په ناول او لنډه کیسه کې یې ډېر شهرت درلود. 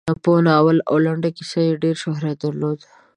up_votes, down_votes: 2, 0